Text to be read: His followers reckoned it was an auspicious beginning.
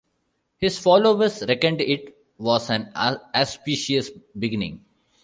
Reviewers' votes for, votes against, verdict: 1, 2, rejected